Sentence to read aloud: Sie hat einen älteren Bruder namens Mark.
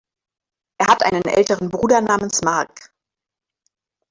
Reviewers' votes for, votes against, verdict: 0, 2, rejected